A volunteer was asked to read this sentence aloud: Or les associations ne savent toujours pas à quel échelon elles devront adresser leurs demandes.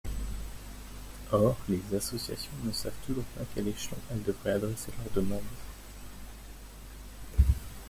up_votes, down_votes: 1, 2